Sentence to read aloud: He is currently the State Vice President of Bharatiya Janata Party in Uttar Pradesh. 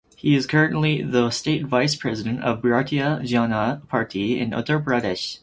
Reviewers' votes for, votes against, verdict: 2, 2, rejected